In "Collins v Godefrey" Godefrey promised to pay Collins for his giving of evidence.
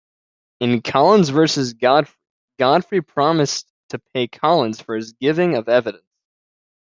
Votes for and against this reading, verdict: 1, 2, rejected